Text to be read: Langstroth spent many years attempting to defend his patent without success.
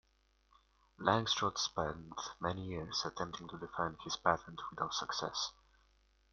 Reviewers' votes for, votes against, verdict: 2, 1, accepted